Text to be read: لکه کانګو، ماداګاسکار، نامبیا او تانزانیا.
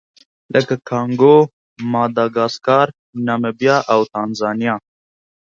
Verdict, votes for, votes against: accepted, 2, 0